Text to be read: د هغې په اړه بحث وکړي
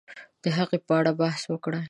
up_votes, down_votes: 0, 2